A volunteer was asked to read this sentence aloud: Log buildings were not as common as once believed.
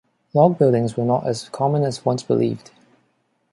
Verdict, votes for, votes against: accepted, 2, 1